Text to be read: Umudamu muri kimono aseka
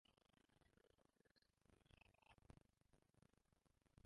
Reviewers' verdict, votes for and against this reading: rejected, 0, 2